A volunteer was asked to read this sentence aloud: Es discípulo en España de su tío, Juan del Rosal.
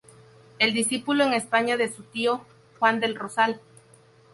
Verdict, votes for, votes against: rejected, 2, 2